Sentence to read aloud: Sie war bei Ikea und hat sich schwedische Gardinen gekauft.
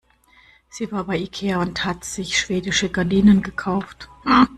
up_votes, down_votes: 2, 0